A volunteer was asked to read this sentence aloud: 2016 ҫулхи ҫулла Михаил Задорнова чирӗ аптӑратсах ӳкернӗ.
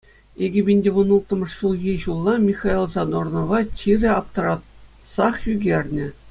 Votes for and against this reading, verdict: 0, 2, rejected